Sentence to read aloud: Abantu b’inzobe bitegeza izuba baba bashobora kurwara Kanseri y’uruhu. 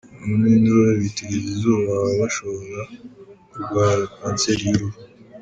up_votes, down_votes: 1, 2